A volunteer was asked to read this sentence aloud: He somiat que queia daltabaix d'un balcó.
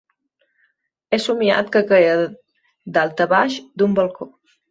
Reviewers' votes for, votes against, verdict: 1, 2, rejected